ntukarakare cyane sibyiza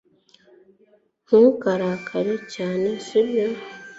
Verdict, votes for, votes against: rejected, 1, 2